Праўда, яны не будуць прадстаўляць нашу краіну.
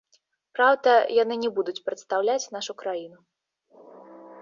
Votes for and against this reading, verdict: 3, 0, accepted